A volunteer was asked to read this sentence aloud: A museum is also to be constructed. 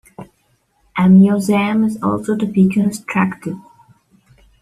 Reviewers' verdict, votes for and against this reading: accepted, 2, 1